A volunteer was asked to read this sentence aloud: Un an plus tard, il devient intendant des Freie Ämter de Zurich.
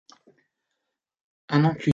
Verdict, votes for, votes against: rejected, 0, 2